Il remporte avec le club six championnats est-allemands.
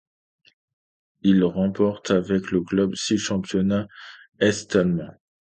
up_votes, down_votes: 2, 0